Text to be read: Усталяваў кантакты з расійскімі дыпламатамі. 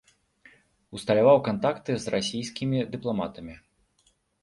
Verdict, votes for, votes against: accepted, 2, 0